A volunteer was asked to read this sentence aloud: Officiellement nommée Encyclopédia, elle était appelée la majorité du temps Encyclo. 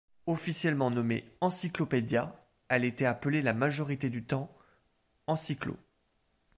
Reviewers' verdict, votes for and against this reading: accepted, 2, 0